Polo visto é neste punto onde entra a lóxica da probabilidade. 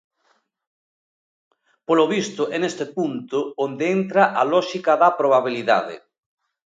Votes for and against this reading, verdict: 2, 0, accepted